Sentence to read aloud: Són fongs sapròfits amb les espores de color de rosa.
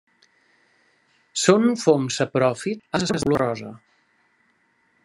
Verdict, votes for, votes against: rejected, 0, 2